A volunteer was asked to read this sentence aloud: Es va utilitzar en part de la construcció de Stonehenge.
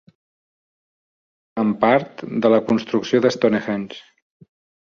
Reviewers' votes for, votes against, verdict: 0, 2, rejected